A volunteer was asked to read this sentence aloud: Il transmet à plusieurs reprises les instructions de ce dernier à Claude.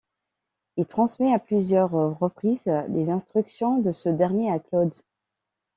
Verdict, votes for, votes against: accepted, 2, 0